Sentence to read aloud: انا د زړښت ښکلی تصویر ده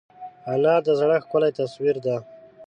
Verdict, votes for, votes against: accepted, 3, 0